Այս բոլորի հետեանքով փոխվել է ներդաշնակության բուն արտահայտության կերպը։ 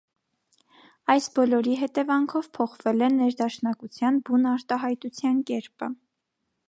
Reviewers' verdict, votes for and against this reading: accepted, 2, 0